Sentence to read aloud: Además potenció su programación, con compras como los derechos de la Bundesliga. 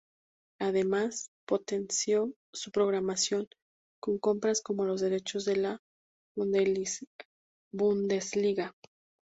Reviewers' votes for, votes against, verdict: 0, 6, rejected